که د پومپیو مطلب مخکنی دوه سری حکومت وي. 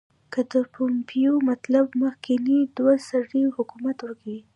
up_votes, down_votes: 2, 1